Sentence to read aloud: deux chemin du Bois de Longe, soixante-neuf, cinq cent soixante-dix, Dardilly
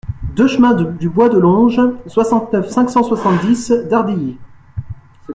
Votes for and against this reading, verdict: 2, 0, accepted